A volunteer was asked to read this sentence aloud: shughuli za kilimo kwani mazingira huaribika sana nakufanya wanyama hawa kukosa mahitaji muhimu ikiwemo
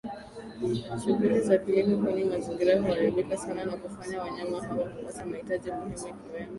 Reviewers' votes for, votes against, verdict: 3, 1, accepted